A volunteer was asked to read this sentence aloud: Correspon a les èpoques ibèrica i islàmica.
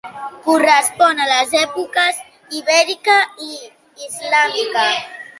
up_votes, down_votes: 3, 0